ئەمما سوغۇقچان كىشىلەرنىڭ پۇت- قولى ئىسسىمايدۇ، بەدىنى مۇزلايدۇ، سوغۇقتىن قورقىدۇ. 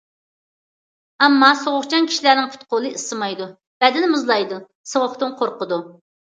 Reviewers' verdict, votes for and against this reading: accepted, 2, 0